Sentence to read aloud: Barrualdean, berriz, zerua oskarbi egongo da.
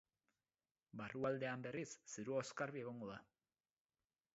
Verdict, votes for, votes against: rejected, 2, 2